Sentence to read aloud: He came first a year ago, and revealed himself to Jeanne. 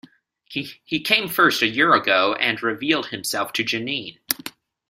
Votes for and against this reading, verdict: 0, 2, rejected